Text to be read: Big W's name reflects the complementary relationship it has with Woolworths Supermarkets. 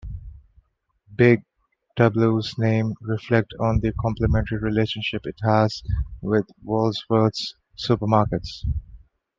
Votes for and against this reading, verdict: 1, 2, rejected